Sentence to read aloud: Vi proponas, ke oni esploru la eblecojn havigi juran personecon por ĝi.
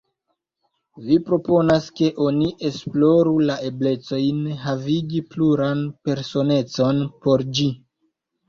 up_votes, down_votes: 0, 2